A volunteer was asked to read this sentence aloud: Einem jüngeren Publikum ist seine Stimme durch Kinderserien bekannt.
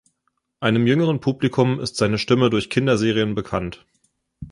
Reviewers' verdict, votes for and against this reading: accepted, 2, 0